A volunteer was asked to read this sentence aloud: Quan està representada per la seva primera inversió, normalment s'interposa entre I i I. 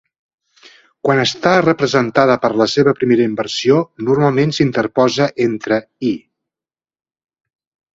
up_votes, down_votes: 1, 2